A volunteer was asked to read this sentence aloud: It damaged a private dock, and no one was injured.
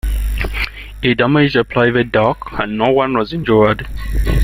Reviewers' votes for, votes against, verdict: 2, 0, accepted